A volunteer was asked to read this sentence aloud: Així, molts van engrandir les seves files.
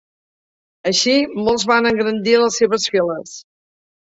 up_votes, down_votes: 3, 0